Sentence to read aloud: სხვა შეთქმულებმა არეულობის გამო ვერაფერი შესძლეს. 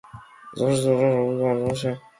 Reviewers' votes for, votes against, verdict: 0, 2, rejected